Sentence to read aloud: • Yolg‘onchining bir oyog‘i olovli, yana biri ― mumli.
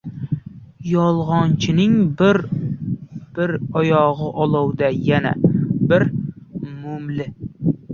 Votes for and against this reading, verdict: 0, 2, rejected